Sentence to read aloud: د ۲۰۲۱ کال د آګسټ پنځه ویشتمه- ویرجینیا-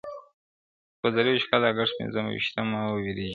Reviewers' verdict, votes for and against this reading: rejected, 0, 2